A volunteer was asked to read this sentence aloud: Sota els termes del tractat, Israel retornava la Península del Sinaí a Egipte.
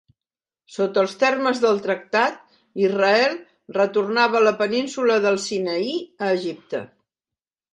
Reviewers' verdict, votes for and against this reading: accepted, 3, 0